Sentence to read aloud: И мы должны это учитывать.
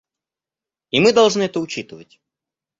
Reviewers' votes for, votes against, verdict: 2, 0, accepted